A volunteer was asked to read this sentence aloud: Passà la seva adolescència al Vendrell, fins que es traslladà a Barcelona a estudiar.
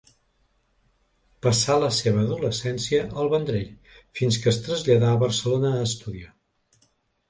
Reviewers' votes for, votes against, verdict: 3, 0, accepted